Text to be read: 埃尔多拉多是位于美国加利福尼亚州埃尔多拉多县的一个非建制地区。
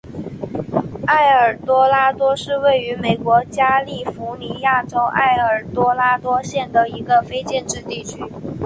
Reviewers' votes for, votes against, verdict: 6, 0, accepted